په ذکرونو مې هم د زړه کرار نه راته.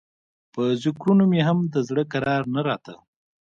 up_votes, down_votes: 2, 1